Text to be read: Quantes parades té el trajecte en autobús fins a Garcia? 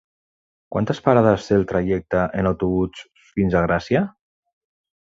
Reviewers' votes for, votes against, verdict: 1, 2, rejected